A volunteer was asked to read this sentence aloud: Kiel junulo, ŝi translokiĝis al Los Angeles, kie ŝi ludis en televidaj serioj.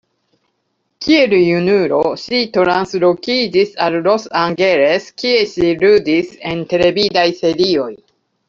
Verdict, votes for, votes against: rejected, 0, 2